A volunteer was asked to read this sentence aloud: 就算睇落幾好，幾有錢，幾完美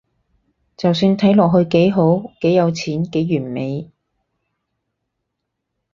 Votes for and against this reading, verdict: 2, 4, rejected